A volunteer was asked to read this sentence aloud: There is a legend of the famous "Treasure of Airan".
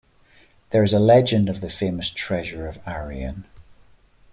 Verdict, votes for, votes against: rejected, 1, 2